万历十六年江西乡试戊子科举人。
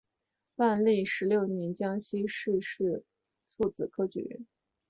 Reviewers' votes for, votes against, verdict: 0, 2, rejected